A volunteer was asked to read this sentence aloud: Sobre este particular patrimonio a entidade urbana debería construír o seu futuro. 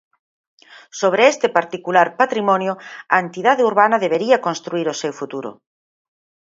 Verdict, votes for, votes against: accepted, 6, 0